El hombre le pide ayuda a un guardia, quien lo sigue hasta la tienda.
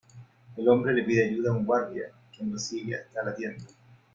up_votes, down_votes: 1, 2